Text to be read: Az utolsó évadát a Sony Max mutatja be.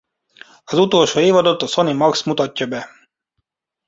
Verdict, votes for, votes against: rejected, 0, 2